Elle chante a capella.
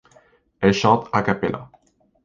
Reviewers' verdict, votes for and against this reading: accepted, 2, 0